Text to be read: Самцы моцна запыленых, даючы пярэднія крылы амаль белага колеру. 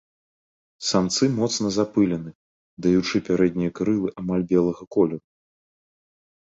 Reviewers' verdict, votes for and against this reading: rejected, 1, 2